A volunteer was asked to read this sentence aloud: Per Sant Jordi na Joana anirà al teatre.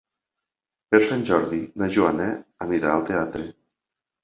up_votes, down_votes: 3, 0